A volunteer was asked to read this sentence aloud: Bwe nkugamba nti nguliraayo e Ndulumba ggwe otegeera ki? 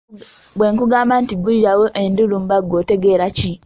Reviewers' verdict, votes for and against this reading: rejected, 0, 2